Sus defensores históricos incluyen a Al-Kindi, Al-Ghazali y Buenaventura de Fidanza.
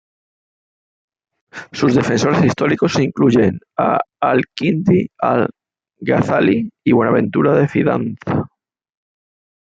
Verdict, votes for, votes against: rejected, 0, 2